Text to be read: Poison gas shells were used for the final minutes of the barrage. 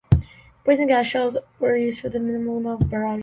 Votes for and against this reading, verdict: 0, 2, rejected